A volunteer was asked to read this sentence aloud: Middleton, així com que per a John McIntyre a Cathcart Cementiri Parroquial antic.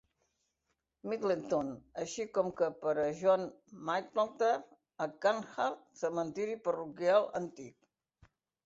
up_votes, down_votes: 0, 2